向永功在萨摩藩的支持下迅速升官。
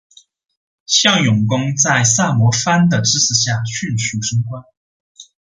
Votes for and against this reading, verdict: 2, 0, accepted